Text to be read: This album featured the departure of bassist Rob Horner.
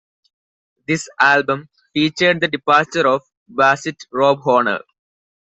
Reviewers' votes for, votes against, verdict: 2, 1, accepted